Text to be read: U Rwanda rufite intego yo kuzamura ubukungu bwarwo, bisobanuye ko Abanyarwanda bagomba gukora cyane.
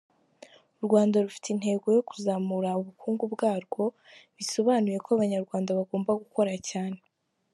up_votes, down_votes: 4, 0